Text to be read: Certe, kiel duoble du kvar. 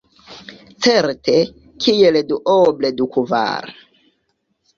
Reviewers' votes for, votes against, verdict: 2, 0, accepted